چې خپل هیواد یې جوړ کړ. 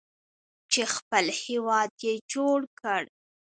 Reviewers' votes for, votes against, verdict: 1, 2, rejected